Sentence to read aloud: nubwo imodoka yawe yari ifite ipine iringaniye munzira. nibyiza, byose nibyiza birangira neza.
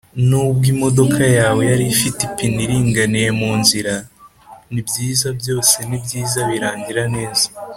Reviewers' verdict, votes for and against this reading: accepted, 2, 0